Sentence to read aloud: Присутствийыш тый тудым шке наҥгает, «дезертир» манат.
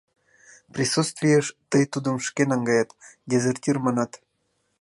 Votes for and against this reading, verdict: 2, 0, accepted